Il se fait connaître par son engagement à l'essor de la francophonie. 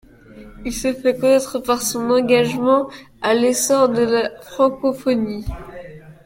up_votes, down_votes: 1, 2